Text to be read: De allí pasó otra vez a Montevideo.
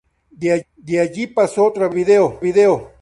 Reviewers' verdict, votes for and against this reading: rejected, 0, 2